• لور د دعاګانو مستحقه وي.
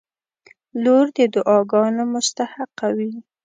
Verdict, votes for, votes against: accepted, 2, 0